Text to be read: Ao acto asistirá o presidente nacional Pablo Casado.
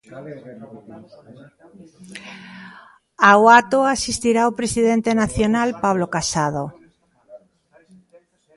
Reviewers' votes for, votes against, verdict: 1, 2, rejected